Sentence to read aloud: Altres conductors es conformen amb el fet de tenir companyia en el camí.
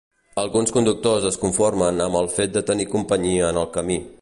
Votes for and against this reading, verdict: 0, 2, rejected